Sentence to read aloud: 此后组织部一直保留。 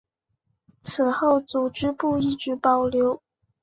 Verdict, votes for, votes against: accepted, 2, 0